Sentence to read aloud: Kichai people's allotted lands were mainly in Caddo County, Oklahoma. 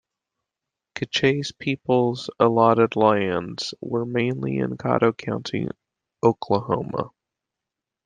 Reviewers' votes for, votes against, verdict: 1, 2, rejected